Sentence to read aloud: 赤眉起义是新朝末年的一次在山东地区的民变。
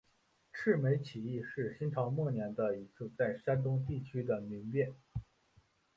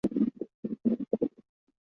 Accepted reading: first